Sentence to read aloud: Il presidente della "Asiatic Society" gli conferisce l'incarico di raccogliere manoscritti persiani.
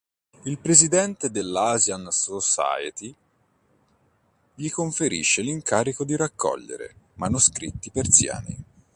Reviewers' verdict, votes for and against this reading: rejected, 1, 2